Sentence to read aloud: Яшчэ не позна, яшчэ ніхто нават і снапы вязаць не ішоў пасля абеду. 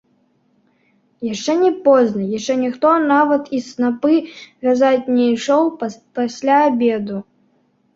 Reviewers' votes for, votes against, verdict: 0, 2, rejected